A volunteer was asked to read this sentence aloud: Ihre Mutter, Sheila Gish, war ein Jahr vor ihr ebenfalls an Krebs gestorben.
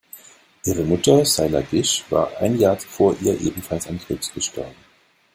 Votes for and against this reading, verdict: 0, 2, rejected